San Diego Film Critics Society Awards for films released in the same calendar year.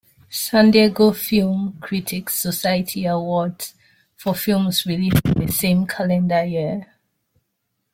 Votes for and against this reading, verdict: 1, 2, rejected